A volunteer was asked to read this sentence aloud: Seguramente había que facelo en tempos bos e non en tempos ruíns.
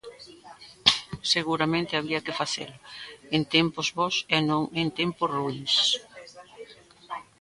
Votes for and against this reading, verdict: 0, 2, rejected